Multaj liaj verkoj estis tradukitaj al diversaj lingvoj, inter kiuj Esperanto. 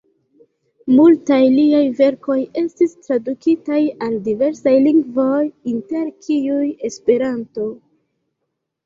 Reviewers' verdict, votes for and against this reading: accepted, 2, 0